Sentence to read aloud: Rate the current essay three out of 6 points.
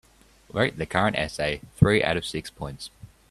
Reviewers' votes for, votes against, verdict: 0, 2, rejected